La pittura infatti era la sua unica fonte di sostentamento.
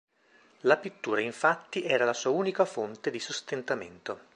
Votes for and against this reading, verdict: 2, 0, accepted